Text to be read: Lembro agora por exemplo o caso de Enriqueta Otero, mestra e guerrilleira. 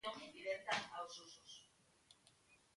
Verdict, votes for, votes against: rejected, 0, 2